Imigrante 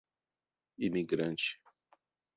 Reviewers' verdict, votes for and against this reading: accepted, 2, 0